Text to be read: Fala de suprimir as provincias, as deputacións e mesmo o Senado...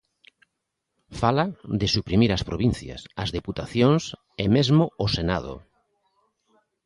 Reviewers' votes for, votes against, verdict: 2, 0, accepted